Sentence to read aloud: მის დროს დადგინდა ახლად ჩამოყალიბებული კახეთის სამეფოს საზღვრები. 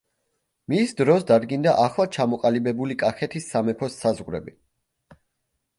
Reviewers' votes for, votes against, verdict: 3, 0, accepted